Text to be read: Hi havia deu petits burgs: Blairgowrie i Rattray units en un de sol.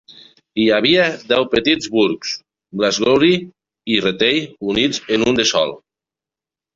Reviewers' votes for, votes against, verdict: 0, 2, rejected